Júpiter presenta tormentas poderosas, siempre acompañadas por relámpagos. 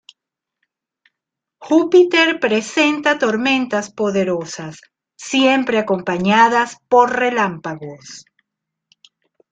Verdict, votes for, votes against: accepted, 2, 0